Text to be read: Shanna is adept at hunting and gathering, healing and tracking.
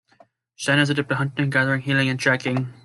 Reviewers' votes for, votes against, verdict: 0, 3, rejected